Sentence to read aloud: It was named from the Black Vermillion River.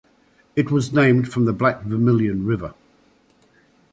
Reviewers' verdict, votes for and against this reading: accepted, 2, 0